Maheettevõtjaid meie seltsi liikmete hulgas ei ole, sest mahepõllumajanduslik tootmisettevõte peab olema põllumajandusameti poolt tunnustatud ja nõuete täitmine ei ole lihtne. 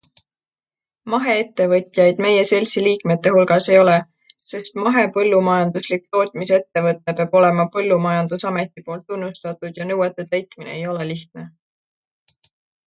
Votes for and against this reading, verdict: 2, 0, accepted